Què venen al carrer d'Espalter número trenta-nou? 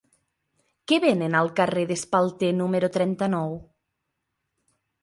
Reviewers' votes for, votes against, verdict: 2, 0, accepted